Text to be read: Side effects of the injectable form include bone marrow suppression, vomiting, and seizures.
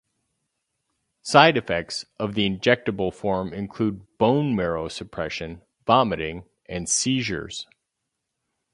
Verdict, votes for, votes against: accepted, 4, 0